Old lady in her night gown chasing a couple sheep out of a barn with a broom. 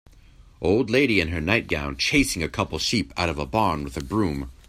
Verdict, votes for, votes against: accepted, 2, 0